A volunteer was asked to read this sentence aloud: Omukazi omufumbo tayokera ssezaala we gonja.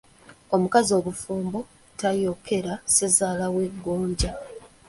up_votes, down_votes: 1, 2